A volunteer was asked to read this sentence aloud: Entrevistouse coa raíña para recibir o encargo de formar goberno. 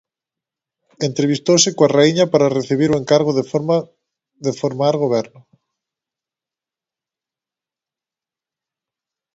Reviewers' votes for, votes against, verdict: 1, 2, rejected